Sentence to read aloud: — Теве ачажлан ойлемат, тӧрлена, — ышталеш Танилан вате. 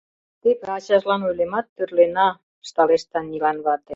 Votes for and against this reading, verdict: 1, 2, rejected